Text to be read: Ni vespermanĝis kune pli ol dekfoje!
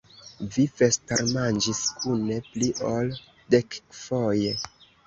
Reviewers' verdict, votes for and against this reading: accepted, 2, 0